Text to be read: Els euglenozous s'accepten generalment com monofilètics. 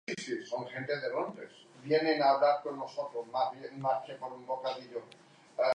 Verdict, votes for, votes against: rejected, 0, 3